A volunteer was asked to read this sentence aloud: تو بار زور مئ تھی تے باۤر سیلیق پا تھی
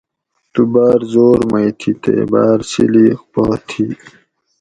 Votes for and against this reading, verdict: 2, 0, accepted